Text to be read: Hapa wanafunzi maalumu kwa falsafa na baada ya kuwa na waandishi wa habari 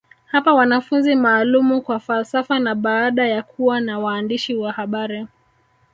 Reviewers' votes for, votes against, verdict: 1, 2, rejected